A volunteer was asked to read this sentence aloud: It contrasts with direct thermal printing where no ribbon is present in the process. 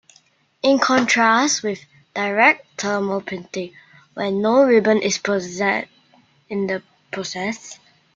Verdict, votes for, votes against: rejected, 0, 2